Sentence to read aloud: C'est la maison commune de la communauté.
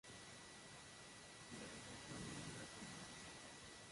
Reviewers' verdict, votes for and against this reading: rejected, 0, 2